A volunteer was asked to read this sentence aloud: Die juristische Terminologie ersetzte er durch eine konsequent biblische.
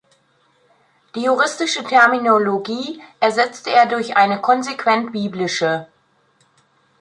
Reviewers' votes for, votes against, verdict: 2, 0, accepted